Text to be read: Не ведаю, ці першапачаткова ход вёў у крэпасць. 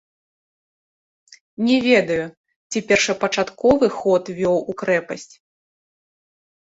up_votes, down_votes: 1, 2